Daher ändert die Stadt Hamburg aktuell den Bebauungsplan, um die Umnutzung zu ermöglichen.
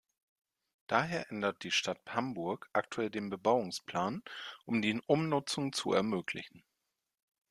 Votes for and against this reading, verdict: 0, 2, rejected